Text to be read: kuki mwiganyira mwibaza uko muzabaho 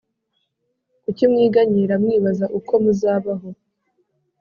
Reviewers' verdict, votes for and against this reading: accepted, 3, 0